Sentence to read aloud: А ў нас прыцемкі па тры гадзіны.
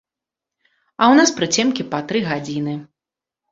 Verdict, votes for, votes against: rejected, 1, 2